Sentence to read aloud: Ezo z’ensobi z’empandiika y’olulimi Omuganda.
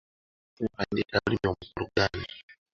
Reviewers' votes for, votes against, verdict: 0, 2, rejected